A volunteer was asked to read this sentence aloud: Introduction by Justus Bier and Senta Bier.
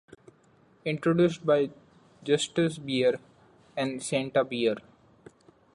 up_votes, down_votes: 1, 2